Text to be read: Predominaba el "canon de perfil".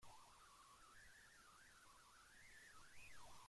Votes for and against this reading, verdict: 0, 2, rejected